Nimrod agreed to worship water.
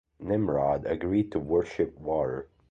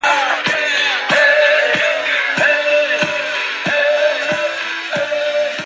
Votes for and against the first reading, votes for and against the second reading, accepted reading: 2, 0, 0, 3, first